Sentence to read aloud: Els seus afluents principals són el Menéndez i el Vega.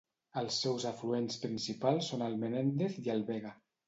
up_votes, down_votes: 1, 2